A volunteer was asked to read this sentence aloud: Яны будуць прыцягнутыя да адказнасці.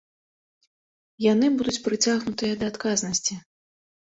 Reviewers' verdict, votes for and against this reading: accepted, 2, 0